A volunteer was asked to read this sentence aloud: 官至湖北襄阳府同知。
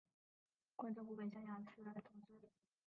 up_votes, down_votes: 0, 2